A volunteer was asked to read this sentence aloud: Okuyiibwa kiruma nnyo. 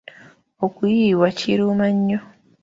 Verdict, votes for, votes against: accepted, 2, 1